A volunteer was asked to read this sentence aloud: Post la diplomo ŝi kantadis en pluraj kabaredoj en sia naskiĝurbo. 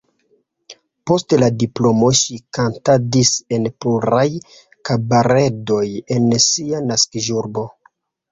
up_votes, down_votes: 2, 1